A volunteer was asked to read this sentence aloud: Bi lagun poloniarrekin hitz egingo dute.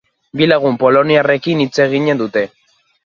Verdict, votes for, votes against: rejected, 1, 2